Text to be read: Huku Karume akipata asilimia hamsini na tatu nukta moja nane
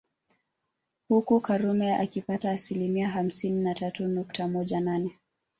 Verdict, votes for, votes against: accepted, 2, 1